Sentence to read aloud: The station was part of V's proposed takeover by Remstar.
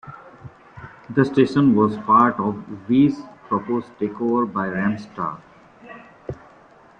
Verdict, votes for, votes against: accepted, 2, 1